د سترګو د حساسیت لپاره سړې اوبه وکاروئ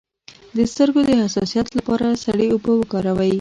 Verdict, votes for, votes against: rejected, 1, 2